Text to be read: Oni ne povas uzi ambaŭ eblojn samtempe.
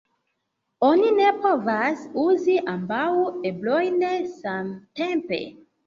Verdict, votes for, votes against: rejected, 0, 2